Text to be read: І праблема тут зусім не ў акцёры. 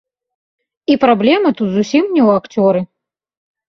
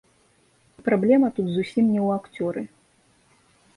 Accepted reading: first